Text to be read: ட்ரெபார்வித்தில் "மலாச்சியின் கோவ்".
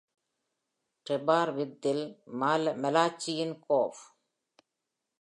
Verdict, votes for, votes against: rejected, 1, 2